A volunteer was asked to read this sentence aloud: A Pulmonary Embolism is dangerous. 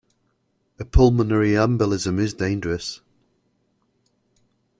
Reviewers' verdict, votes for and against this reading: accepted, 2, 0